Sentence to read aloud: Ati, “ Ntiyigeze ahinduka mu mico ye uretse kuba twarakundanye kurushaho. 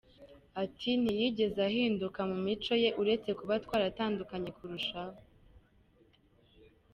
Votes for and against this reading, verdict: 2, 1, accepted